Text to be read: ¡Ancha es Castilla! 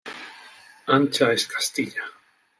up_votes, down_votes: 2, 0